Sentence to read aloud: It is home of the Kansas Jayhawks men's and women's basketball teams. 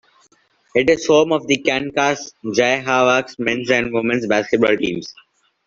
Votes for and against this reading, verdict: 1, 2, rejected